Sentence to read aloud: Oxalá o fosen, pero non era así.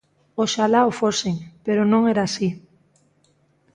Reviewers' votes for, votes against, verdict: 2, 0, accepted